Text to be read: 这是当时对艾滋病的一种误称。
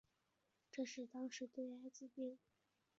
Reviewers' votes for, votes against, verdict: 2, 6, rejected